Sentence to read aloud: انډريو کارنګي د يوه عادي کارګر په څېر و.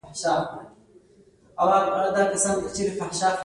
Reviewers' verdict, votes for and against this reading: rejected, 1, 2